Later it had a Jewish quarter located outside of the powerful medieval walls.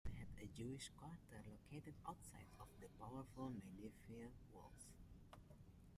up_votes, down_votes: 0, 2